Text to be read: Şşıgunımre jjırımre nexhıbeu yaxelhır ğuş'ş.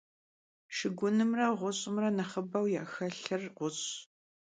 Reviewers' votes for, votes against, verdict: 0, 2, rejected